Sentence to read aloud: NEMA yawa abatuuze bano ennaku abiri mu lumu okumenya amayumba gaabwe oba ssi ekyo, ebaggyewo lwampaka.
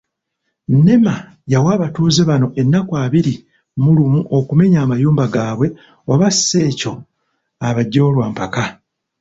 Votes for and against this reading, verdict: 0, 3, rejected